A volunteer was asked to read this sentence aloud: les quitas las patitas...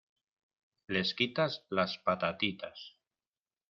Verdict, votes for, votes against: rejected, 0, 2